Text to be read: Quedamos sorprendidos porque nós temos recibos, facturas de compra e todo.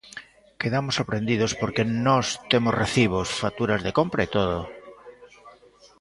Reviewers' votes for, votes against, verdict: 1, 2, rejected